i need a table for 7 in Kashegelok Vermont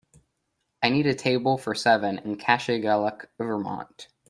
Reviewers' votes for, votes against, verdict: 0, 2, rejected